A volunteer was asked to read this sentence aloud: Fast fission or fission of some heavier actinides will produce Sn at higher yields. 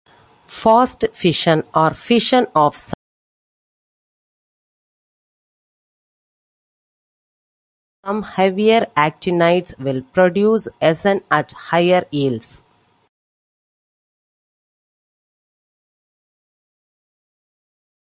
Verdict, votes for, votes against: rejected, 0, 2